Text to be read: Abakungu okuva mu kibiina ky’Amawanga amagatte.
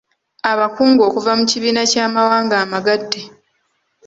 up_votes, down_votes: 2, 1